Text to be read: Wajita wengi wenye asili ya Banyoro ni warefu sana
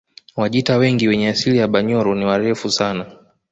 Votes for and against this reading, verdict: 2, 0, accepted